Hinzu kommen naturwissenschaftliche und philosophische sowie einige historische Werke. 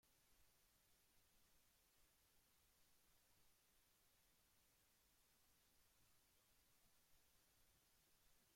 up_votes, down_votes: 0, 2